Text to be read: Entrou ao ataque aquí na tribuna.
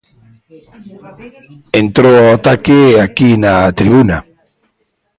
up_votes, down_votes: 1, 2